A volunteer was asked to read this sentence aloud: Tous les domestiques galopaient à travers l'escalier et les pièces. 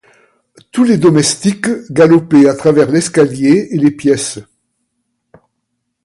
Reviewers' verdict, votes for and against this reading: accepted, 2, 0